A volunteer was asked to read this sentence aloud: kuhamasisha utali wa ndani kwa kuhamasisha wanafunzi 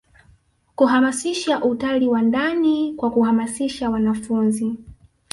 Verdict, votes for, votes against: rejected, 1, 2